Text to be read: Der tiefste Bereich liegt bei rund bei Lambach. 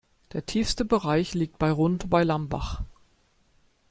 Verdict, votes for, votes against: accepted, 2, 0